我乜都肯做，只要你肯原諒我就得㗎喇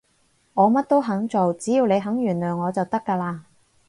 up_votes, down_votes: 4, 0